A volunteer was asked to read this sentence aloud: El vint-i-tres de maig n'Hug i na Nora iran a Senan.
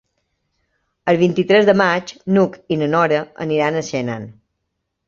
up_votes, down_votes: 2, 0